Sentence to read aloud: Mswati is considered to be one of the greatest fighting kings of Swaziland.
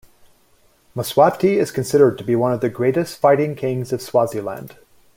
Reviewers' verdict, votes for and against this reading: accepted, 2, 1